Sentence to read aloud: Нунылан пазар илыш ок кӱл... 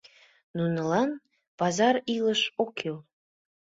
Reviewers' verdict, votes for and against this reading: accepted, 2, 0